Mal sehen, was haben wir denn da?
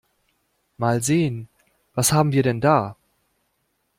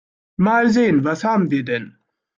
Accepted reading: first